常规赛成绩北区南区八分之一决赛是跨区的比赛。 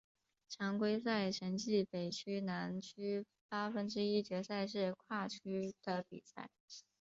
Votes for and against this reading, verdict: 2, 0, accepted